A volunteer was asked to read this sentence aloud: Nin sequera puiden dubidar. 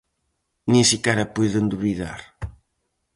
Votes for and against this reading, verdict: 2, 2, rejected